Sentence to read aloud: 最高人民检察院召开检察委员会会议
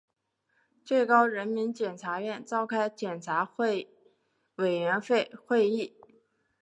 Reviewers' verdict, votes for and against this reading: rejected, 1, 3